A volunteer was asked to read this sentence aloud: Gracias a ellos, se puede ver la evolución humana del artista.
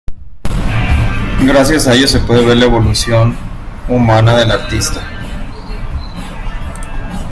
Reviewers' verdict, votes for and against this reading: rejected, 0, 2